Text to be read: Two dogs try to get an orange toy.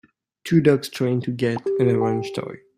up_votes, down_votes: 0, 2